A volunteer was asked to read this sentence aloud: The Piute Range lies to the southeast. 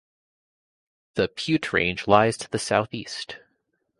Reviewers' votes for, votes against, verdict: 2, 0, accepted